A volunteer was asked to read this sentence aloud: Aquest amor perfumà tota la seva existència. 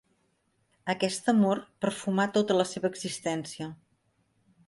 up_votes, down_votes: 3, 0